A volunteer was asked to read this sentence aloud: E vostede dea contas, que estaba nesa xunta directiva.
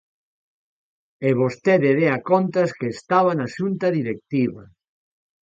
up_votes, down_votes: 0, 2